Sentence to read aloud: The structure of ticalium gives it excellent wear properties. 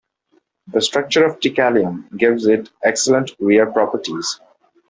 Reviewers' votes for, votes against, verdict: 2, 0, accepted